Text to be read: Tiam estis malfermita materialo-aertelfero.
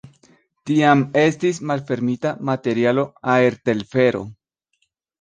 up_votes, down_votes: 2, 0